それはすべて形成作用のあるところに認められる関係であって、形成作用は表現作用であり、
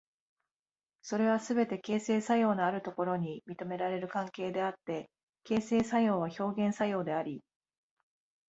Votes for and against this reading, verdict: 0, 2, rejected